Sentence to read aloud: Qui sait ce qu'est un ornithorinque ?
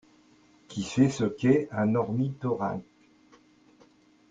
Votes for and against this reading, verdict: 1, 2, rejected